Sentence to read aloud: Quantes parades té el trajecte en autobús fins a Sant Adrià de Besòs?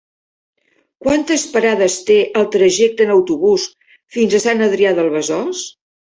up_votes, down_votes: 2, 1